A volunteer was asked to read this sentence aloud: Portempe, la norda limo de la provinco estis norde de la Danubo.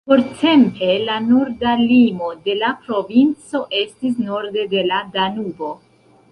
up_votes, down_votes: 1, 2